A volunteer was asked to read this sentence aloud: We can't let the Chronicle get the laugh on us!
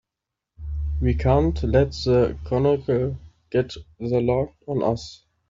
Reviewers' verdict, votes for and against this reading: rejected, 0, 2